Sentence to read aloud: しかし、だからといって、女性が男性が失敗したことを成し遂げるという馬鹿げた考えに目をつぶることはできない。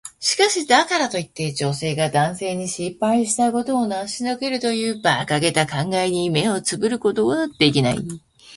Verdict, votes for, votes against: rejected, 1, 2